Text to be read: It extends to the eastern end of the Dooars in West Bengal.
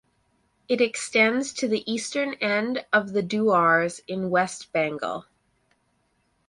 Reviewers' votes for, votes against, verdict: 4, 0, accepted